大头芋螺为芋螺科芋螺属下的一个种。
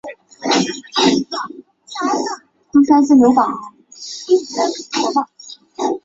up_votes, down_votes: 0, 2